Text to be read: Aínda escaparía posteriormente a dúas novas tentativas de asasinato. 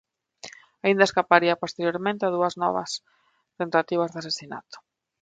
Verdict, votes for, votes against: rejected, 0, 3